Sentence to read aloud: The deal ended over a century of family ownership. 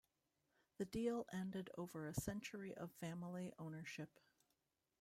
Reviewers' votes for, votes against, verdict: 2, 0, accepted